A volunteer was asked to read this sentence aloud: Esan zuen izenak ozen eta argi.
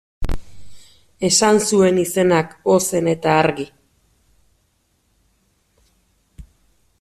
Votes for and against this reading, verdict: 2, 0, accepted